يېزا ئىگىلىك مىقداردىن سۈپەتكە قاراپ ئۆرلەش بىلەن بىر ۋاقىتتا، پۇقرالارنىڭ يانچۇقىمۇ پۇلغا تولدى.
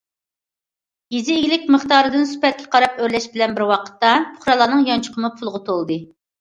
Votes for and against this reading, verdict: 2, 0, accepted